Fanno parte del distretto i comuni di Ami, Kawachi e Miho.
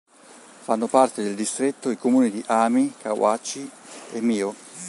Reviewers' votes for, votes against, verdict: 3, 1, accepted